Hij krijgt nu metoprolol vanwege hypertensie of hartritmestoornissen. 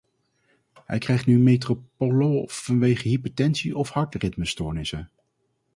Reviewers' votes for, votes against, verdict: 0, 4, rejected